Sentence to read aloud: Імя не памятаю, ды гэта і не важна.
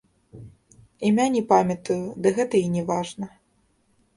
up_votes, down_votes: 0, 2